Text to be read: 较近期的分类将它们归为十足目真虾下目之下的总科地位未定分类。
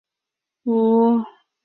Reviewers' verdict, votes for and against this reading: rejected, 0, 2